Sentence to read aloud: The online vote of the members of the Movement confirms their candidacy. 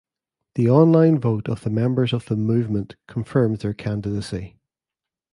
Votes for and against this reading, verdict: 2, 0, accepted